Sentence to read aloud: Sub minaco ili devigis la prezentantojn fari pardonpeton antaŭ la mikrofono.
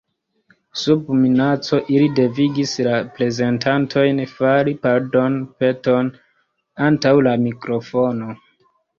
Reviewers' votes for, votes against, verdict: 2, 0, accepted